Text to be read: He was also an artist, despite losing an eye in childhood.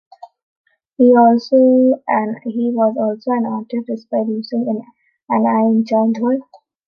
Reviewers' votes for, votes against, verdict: 0, 2, rejected